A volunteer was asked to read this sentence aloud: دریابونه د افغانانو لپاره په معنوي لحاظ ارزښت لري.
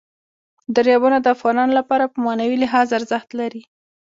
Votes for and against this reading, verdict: 2, 0, accepted